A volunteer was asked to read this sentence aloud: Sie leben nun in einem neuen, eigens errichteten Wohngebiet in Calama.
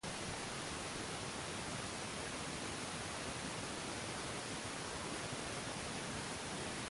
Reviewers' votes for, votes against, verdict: 0, 2, rejected